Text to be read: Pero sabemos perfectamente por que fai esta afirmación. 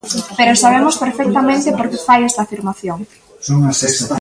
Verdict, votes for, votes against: rejected, 1, 2